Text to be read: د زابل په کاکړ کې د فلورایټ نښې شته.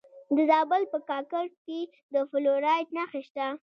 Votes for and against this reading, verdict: 2, 0, accepted